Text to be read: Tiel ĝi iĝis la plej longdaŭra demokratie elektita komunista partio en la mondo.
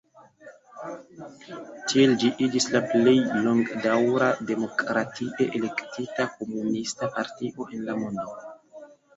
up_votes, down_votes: 0, 2